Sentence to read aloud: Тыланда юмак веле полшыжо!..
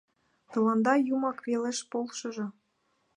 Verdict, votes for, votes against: rejected, 0, 2